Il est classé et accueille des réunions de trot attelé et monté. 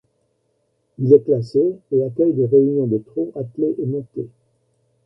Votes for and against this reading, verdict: 2, 0, accepted